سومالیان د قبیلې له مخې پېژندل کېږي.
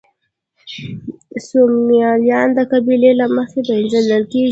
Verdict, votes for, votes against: accepted, 2, 0